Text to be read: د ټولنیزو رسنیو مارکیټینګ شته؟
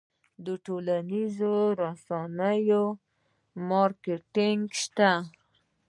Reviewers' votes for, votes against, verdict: 2, 0, accepted